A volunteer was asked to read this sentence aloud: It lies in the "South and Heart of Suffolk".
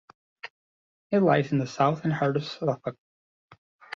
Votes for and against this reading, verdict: 1, 2, rejected